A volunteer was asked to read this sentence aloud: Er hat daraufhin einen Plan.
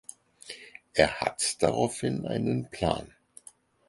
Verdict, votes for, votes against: accepted, 4, 0